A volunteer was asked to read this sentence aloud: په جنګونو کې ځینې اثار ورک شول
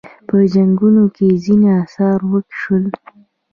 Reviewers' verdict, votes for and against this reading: rejected, 1, 2